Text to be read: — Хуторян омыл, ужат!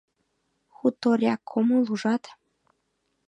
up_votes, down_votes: 1, 2